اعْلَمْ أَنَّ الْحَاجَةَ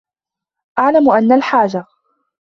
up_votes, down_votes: 2, 0